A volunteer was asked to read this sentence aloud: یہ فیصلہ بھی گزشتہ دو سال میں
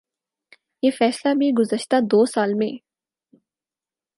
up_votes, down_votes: 4, 0